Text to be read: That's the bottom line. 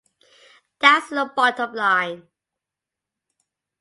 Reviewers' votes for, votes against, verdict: 7, 2, accepted